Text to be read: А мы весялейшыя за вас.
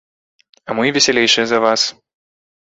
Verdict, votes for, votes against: accepted, 2, 0